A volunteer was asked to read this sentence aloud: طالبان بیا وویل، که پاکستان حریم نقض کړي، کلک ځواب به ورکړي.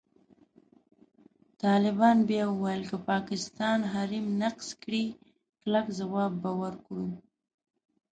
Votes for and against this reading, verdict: 0, 2, rejected